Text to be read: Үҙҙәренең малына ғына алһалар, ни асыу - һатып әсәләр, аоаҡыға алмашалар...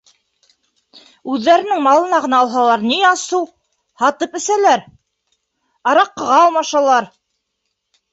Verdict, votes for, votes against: rejected, 2, 3